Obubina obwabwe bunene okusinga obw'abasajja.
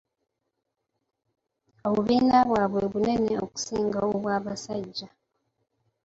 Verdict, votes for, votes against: rejected, 2, 3